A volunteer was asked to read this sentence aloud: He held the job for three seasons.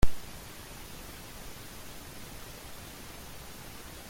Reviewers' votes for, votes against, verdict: 0, 2, rejected